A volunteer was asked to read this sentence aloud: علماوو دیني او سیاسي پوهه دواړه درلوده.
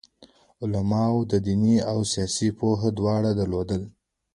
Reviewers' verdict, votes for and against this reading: accepted, 2, 1